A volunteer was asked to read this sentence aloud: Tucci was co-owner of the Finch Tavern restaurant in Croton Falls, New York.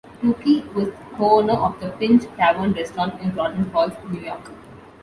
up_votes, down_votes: 1, 2